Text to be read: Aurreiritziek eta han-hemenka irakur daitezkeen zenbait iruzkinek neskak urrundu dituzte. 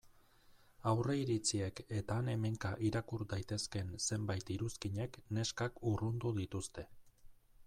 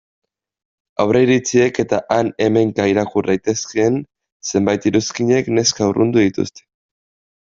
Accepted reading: first